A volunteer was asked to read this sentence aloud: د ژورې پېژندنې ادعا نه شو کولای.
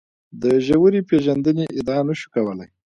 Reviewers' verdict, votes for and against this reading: accepted, 2, 0